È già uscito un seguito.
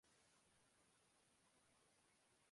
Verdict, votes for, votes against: rejected, 0, 2